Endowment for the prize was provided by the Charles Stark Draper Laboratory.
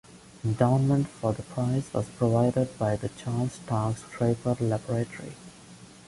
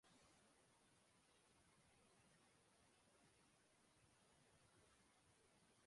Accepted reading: first